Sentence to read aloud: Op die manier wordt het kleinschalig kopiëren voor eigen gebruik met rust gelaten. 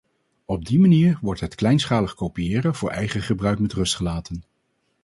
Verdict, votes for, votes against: accepted, 4, 0